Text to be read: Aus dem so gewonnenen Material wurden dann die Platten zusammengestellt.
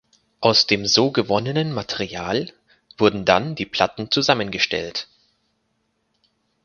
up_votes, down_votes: 4, 0